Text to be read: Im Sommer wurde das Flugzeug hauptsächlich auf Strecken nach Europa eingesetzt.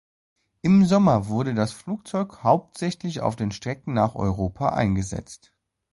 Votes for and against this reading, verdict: 0, 2, rejected